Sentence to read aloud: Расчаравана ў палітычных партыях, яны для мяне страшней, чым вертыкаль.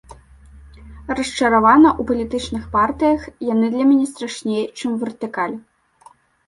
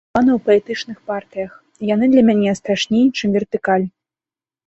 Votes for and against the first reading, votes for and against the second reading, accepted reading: 2, 0, 1, 2, first